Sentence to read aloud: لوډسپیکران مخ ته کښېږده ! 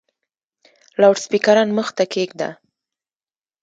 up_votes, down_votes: 1, 2